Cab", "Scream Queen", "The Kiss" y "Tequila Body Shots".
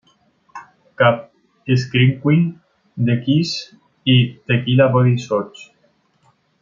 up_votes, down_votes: 0, 2